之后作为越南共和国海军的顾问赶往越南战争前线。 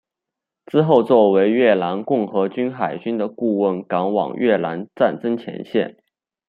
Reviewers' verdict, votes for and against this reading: rejected, 1, 2